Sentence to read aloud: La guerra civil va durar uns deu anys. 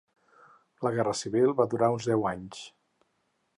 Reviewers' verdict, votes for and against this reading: accepted, 4, 0